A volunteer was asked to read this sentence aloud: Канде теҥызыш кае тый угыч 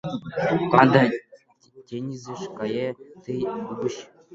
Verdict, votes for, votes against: rejected, 0, 2